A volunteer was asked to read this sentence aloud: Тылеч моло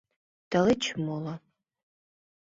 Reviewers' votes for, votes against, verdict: 2, 0, accepted